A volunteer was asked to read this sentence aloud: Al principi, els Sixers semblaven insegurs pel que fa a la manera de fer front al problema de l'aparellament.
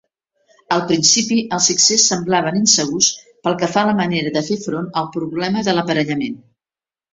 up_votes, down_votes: 2, 0